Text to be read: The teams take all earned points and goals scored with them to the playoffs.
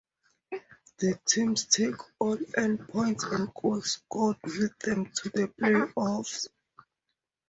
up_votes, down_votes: 2, 0